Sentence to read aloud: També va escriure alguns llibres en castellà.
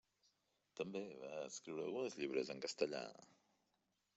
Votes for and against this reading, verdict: 0, 2, rejected